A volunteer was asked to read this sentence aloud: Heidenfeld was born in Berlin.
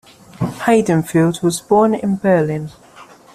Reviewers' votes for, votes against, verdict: 2, 1, accepted